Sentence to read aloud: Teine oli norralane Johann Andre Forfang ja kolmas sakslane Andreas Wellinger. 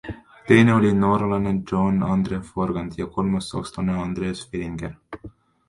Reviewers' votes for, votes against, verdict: 2, 1, accepted